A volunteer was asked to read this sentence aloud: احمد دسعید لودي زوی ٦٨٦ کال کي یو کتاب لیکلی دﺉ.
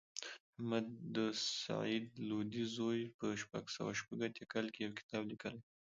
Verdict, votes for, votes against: rejected, 0, 2